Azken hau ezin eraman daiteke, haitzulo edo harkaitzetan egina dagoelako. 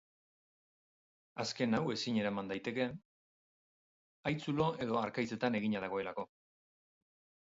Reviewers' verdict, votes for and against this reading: rejected, 2, 2